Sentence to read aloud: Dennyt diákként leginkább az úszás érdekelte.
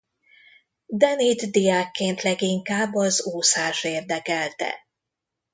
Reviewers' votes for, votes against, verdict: 2, 0, accepted